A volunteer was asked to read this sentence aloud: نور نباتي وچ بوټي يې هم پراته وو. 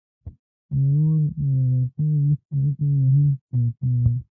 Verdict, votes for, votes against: rejected, 0, 2